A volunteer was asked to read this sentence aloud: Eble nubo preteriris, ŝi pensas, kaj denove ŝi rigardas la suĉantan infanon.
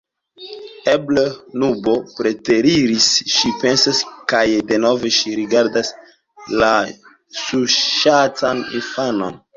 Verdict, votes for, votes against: rejected, 1, 2